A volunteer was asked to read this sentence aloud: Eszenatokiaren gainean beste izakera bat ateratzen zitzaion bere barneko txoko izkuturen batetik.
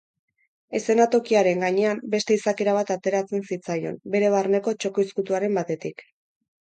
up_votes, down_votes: 6, 2